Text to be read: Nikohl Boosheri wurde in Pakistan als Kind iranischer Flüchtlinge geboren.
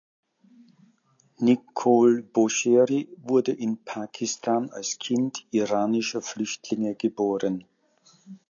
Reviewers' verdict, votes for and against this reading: accepted, 2, 0